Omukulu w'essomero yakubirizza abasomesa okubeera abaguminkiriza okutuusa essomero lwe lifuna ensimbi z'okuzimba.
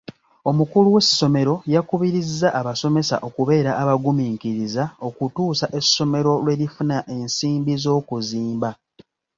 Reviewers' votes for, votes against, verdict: 2, 0, accepted